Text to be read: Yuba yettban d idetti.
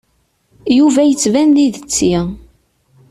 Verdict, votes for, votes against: accepted, 2, 0